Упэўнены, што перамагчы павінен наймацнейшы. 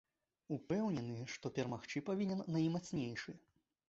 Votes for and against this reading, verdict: 2, 0, accepted